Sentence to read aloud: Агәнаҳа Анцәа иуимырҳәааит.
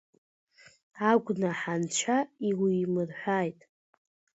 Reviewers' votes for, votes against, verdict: 2, 0, accepted